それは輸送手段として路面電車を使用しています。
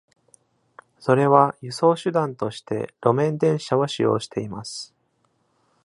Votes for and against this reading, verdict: 2, 0, accepted